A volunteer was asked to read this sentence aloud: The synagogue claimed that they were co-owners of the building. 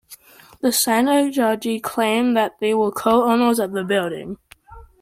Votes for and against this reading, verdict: 2, 1, accepted